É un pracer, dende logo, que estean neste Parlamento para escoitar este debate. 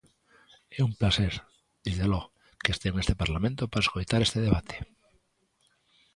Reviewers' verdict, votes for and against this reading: accepted, 2, 1